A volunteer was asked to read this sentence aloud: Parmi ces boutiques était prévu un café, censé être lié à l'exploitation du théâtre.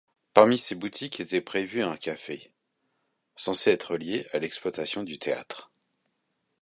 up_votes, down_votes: 2, 0